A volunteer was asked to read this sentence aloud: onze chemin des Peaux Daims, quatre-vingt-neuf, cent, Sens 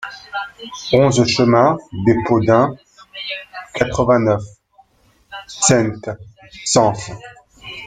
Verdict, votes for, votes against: rejected, 0, 2